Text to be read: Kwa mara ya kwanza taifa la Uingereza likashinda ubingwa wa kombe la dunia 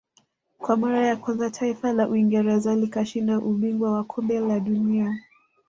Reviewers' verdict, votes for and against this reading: accepted, 2, 0